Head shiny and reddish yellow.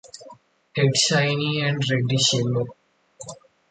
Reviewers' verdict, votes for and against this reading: accepted, 2, 0